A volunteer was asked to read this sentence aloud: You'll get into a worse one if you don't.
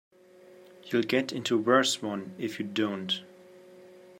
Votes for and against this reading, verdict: 1, 2, rejected